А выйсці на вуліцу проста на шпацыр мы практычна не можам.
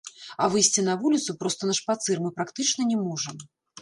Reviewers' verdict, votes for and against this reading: rejected, 1, 2